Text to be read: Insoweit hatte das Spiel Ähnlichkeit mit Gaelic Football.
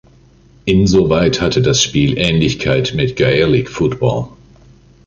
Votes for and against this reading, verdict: 2, 0, accepted